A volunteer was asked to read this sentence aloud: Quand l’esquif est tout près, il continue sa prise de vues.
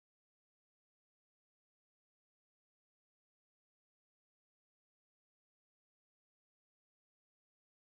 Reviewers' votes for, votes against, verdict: 0, 2, rejected